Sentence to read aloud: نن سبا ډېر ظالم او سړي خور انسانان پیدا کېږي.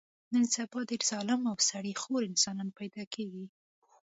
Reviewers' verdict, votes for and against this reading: accepted, 2, 0